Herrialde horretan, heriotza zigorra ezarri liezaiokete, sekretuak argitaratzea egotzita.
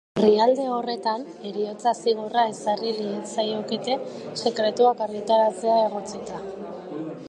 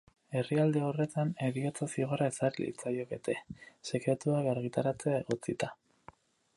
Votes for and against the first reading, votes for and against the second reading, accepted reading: 0, 2, 4, 2, second